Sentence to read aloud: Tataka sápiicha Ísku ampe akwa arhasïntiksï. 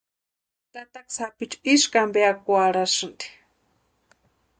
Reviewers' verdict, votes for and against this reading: rejected, 0, 2